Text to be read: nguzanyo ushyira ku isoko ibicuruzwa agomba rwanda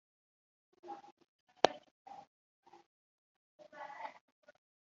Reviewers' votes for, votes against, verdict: 0, 2, rejected